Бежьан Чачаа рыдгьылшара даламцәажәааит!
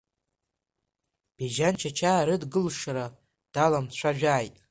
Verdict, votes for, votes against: accepted, 2, 0